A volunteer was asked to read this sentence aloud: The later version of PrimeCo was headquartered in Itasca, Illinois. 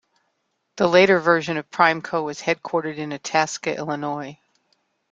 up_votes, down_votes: 2, 0